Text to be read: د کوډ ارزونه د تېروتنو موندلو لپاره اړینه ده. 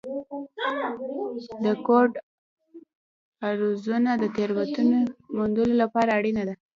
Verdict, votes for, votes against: rejected, 1, 2